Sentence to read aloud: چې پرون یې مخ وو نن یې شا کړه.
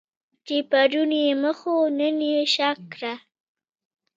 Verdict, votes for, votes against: accepted, 2, 0